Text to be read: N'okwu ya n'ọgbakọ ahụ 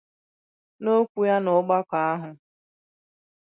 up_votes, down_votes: 2, 0